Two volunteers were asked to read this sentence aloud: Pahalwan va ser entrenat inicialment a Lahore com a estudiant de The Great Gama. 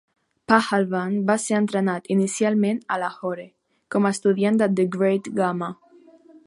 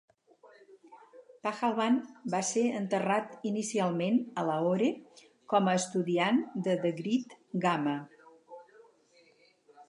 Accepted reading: first